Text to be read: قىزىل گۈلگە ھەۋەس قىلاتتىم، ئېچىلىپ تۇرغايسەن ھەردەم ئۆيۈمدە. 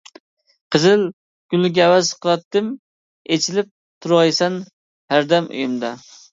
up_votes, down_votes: 0, 2